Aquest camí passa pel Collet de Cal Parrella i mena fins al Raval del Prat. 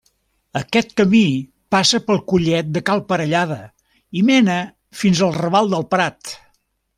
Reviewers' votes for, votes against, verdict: 1, 2, rejected